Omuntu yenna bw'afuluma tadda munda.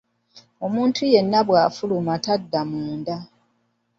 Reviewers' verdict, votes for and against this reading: accepted, 2, 1